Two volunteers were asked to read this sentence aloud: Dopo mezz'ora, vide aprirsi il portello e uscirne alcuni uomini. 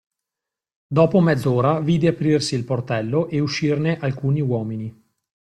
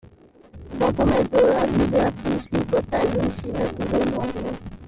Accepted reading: first